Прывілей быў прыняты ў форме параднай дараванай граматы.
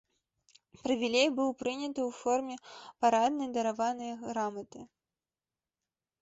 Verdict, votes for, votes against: accepted, 2, 0